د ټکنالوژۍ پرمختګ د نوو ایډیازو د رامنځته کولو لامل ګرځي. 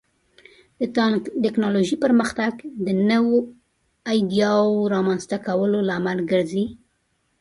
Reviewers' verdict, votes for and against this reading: rejected, 1, 2